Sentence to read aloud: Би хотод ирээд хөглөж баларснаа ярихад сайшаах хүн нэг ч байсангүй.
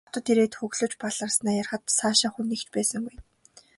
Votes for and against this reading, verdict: 2, 0, accepted